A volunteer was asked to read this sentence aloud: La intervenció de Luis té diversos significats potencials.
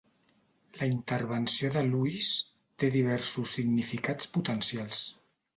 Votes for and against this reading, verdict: 2, 0, accepted